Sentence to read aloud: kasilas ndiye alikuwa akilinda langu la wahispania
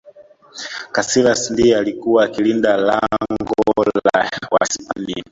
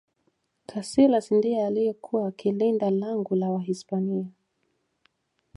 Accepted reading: second